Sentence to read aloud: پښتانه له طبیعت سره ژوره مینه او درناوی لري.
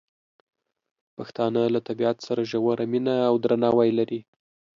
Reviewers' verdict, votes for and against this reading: accepted, 2, 0